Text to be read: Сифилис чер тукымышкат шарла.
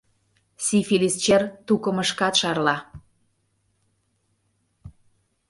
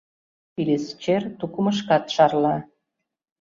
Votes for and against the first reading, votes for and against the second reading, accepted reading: 2, 0, 0, 2, first